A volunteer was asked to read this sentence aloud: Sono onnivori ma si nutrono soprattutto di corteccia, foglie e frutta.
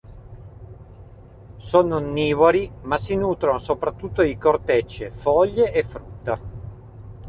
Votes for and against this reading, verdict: 0, 2, rejected